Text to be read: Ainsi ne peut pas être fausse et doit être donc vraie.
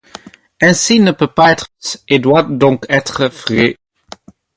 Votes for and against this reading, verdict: 0, 2, rejected